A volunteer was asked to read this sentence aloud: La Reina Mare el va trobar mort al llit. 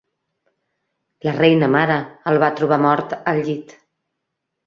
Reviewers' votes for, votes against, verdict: 3, 0, accepted